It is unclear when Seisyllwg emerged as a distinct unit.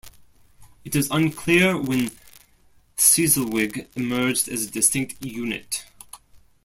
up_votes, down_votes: 0, 2